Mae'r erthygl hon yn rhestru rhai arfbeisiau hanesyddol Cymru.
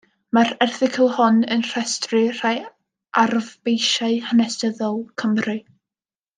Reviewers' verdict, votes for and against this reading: accepted, 2, 0